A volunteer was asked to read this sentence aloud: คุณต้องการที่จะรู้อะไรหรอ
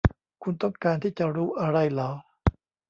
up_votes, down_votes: 2, 0